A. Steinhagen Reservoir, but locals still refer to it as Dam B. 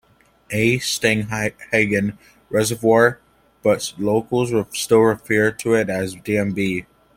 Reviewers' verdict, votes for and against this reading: rejected, 1, 2